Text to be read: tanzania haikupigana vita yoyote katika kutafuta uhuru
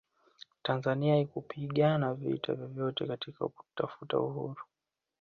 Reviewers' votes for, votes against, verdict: 2, 0, accepted